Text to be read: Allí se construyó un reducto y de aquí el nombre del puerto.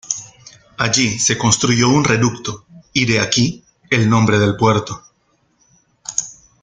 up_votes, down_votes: 2, 0